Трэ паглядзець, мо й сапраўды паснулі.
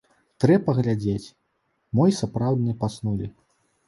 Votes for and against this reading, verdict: 1, 2, rejected